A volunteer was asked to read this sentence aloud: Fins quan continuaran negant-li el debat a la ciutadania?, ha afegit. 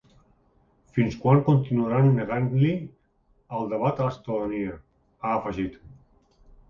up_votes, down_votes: 1, 2